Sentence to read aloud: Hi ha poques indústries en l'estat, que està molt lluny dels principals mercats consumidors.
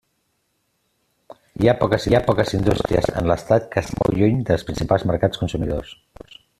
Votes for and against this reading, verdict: 0, 2, rejected